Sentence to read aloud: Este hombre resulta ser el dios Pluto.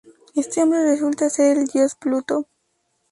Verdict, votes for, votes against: accepted, 2, 0